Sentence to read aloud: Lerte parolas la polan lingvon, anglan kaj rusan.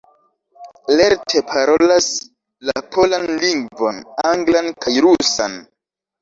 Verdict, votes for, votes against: rejected, 0, 2